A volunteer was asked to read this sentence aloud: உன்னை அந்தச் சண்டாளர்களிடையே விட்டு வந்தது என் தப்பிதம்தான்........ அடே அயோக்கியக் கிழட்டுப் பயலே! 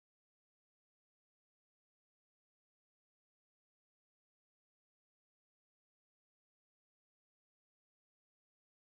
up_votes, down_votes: 0, 2